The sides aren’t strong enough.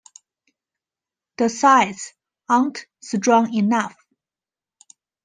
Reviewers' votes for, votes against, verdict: 2, 1, accepted